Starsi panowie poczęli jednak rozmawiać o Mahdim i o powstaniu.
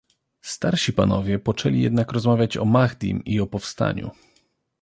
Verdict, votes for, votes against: accepted, 2, 0